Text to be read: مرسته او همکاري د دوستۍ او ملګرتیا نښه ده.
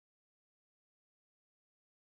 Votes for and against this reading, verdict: 1, 2, rejected